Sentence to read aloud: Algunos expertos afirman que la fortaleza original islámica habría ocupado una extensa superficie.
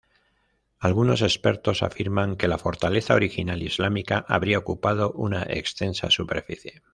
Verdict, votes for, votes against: accepted, 2, 0